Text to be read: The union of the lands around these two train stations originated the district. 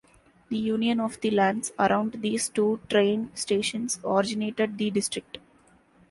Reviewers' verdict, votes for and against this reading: accepted, 2, 1